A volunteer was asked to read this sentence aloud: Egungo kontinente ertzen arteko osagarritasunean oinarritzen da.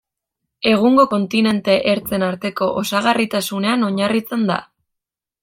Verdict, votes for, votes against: rejected, 0, 2